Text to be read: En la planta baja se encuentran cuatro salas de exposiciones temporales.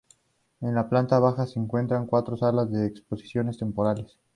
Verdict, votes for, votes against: accepted, 2, 0